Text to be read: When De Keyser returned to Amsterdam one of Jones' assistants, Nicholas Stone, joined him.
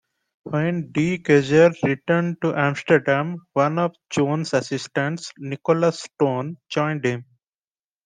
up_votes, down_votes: 2, 0